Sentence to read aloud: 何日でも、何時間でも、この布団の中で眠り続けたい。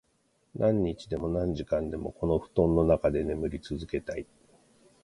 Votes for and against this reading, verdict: 2, 0, accepted